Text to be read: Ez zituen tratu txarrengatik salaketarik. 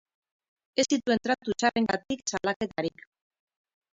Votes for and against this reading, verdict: 4, 0, accepted